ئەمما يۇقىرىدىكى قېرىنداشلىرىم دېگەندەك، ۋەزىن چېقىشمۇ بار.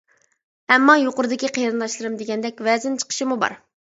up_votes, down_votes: 2, 0